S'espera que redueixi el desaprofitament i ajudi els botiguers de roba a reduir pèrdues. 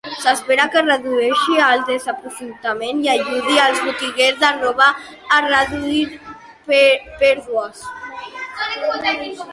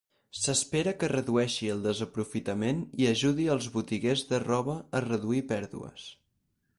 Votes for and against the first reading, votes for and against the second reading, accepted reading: 0, 2, 6, 0, second